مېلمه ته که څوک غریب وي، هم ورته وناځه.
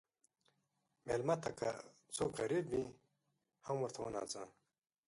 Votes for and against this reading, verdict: 2, 3, rejected